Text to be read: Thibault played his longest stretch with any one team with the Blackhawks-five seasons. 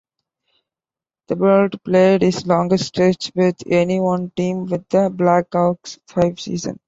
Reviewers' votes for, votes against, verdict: 2, 3, rejected